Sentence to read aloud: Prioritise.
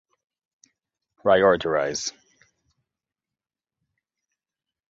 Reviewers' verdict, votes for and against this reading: rejected, 0, 2